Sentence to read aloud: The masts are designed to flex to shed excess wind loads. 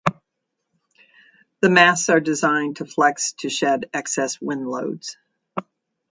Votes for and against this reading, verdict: 2, 0, accepted